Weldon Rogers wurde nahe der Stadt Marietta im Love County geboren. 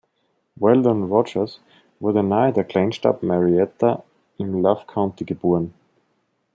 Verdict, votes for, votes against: rejected, 0, 2